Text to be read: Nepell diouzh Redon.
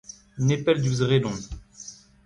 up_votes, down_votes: 2, 1